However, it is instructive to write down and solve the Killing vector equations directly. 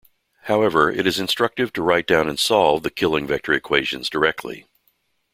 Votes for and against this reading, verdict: 2, 0, accepted